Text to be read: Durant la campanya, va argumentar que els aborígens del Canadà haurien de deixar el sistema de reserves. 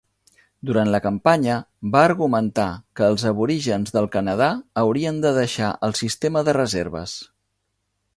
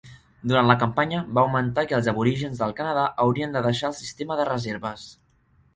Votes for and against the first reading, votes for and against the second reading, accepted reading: 3, 0, 0, 2, first